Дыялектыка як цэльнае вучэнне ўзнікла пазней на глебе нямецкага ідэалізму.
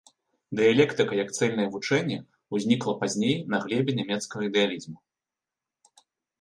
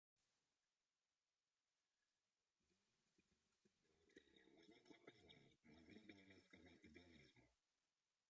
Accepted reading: first